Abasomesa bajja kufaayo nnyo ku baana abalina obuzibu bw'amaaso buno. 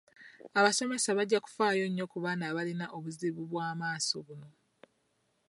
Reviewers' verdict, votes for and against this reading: accepted, 2, 0